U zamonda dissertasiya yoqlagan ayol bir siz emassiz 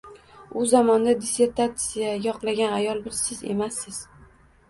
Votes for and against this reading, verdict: 1, 2, rejected